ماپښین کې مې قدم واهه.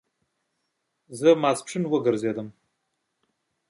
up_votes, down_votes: 1, 2